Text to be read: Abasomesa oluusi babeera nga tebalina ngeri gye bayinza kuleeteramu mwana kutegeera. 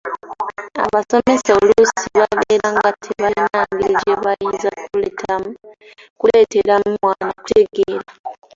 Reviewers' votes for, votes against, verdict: 0, 2, rejected